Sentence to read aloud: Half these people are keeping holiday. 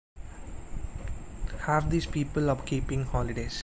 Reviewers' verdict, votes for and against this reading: rejected, 0, 2